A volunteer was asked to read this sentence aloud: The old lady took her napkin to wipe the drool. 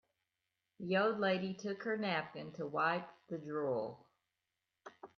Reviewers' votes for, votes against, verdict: 2, 0, accepted